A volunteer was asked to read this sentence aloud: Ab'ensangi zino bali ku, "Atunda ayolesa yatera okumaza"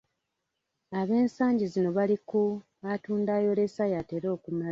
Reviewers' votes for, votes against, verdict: 0, 2, rejected